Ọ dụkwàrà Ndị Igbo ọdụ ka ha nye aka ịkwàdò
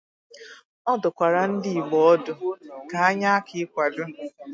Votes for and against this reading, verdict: 2, 0, accepted